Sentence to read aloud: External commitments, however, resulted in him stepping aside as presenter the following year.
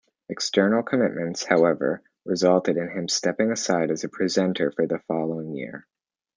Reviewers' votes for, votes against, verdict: 1, 2, rejected